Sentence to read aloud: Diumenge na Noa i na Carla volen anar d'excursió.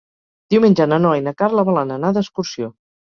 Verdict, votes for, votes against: accepted, 4, 0